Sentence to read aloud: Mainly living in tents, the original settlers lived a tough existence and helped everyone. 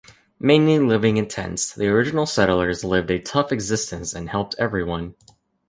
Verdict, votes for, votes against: accepted, 2, 0